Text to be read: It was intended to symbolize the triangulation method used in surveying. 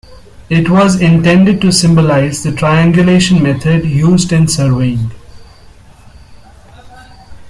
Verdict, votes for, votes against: accepted, 2, 0